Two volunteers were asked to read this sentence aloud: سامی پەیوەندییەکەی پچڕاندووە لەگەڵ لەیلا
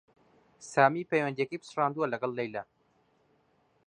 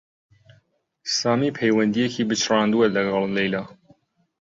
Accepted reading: first